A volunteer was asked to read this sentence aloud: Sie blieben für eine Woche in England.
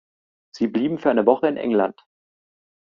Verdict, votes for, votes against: accepted, 2, 0